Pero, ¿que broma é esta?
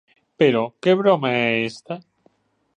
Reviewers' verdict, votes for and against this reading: accepted, 2, 0